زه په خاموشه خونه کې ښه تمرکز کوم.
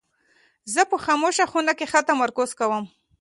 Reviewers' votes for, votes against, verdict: 2, 0, accepted